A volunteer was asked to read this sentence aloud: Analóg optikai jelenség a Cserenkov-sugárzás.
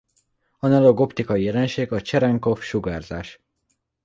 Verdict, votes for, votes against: accepted, 2, 0